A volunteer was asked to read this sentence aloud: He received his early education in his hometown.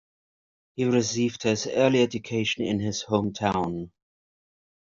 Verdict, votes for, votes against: accepted, 2, 0